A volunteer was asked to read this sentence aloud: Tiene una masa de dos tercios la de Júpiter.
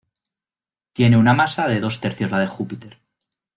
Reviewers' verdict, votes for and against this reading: accepted, 2, 0